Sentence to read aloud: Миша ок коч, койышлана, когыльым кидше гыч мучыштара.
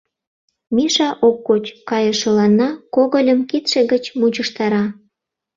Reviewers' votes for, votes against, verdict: 0, 2, rejected